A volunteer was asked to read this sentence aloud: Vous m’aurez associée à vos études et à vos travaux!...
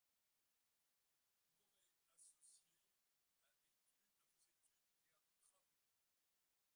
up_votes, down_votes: 0, 2